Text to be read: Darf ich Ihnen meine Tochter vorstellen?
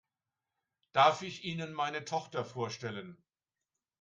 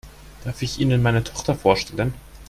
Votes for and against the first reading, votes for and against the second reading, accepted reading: 2, 0, 1, 2, first